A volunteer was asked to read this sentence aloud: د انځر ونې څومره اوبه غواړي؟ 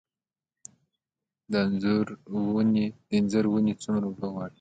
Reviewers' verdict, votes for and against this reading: accepted, 2, 0